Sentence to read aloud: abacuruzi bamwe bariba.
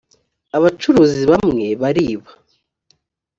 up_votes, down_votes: 2, 0